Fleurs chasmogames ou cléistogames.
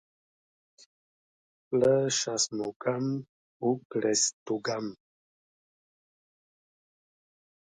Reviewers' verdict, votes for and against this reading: rejected, 0, 2